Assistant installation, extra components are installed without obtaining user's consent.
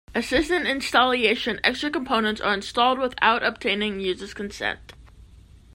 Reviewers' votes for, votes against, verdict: 0, 2, rejected